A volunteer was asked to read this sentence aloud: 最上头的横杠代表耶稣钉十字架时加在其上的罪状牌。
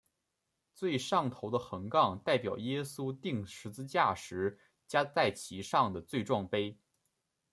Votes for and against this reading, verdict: 0, 2, rejected